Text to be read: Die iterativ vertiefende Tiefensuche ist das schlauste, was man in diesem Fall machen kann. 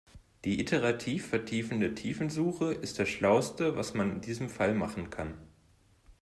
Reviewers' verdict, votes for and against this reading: accepted, 2, 0